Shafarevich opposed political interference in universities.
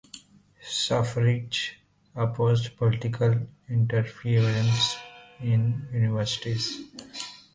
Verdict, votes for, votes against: rejected, 1, 2